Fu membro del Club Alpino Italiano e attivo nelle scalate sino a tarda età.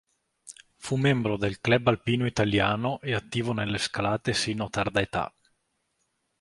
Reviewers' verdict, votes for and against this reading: rejected, 1, 2